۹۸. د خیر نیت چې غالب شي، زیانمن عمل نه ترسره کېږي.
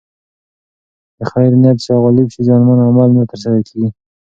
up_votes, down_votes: 0, 2